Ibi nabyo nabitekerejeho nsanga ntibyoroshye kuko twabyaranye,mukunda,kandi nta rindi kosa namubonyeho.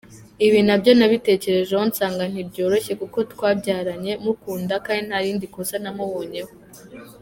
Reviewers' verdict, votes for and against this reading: accepted, 2, 0